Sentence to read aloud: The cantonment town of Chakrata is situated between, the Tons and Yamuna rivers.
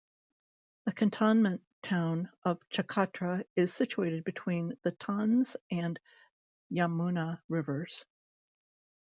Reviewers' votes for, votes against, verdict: 2, 1, accepted